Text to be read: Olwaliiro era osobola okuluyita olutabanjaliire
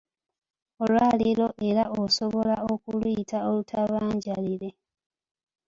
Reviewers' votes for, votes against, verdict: 1, 2, rejected